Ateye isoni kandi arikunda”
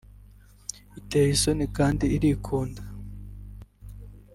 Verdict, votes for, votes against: rejected, 1, 2